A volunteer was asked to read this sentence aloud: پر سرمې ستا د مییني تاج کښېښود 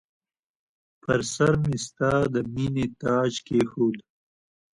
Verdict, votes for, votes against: accepted, 2, 0